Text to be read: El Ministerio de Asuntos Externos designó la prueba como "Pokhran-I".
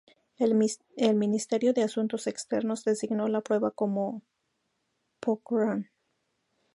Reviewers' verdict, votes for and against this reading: rejected, 0, 2